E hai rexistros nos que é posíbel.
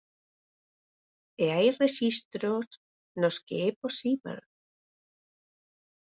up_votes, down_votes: 4, 0